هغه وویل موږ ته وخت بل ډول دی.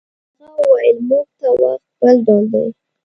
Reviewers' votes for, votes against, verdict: 1, 2, rejected